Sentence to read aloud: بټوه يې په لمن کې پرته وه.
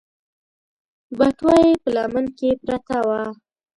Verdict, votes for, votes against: rejected, 1, 2